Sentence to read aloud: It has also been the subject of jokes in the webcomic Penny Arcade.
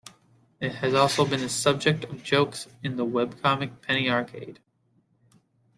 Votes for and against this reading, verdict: 2, 0, accepted